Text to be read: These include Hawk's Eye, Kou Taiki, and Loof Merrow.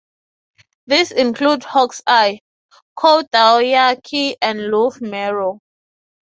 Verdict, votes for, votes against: accepted, 3, 0